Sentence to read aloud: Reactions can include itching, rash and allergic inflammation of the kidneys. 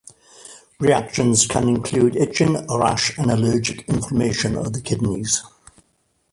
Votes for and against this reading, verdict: 2, 0, accepted